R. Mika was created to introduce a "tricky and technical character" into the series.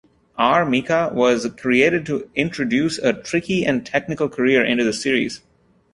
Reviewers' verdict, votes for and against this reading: rejected, 0, 2